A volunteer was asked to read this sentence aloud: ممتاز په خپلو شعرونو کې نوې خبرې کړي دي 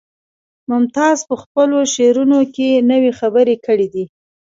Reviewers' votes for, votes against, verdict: 3, 1, accepted